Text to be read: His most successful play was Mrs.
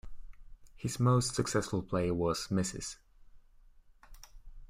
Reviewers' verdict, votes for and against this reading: accepted, 2, 0